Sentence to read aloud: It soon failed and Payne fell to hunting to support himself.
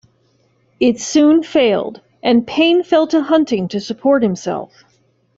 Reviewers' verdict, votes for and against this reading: accepted, 2, 0